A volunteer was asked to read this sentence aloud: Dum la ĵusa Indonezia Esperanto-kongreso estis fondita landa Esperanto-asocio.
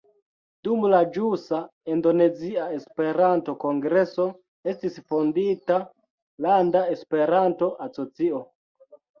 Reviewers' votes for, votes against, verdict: 1, 2, rejected